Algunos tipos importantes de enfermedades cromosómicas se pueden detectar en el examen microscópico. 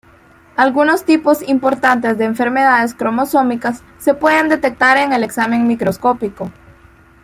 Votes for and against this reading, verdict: 2, 0, accepted